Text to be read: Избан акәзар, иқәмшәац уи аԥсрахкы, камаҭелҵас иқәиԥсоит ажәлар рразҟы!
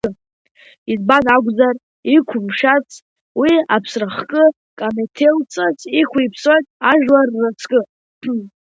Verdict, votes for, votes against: rejected, 0, 2